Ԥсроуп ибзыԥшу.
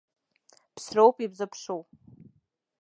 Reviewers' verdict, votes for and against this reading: accepted, 3, 0